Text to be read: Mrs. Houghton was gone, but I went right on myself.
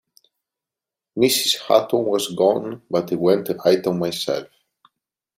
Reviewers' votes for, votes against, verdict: 2, 0, accepted